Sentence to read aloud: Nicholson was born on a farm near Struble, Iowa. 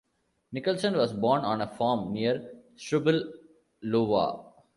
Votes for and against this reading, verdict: 0, 2, rejected